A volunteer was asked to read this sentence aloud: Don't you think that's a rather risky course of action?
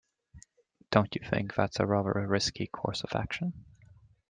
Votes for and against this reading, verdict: 2, 0, accepted